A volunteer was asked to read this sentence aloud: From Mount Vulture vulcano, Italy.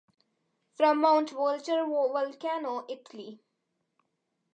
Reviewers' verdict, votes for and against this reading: accepted, 2, 0